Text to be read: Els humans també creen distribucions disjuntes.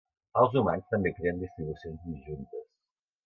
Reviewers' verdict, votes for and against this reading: rejected, 1, 3